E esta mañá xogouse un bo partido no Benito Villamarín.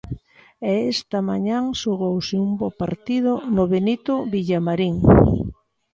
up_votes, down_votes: 0, 2